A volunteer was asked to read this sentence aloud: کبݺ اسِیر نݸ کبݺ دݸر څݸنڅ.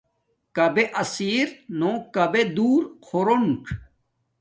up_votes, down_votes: 1, 2